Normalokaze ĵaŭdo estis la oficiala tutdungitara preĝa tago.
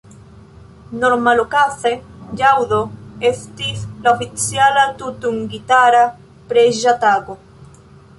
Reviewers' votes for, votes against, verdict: 1, 2, rejected